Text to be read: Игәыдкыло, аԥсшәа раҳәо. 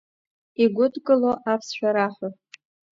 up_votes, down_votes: 2, 0